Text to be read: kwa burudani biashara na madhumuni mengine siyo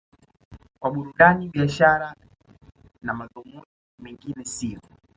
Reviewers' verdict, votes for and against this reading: rejected, 0, 2